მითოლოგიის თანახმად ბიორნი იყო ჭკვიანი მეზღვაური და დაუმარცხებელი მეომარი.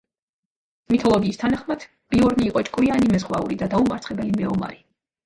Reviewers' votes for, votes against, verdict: 0, 2, rejected